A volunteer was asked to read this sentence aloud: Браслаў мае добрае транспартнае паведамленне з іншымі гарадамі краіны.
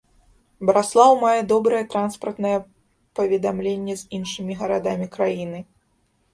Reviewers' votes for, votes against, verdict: 2, 1, accepted